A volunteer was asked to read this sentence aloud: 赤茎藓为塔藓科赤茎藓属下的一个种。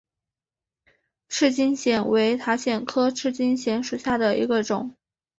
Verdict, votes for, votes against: accepted, 3, 0